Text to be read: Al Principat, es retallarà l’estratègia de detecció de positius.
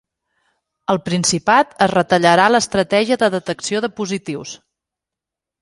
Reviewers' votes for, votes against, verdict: 2, 0, accepted